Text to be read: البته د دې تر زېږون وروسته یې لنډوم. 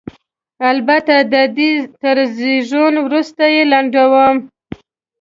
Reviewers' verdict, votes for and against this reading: accepted, 3, 0